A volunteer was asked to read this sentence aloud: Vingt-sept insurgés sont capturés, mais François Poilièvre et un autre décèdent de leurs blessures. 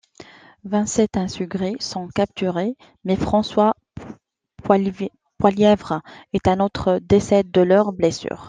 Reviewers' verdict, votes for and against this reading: rejected, 0, 2